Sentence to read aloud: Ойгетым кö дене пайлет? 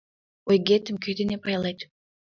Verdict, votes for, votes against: accepted, 2, 0